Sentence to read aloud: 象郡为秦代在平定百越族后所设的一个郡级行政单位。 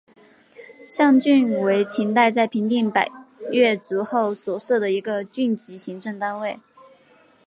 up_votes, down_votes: 6, 0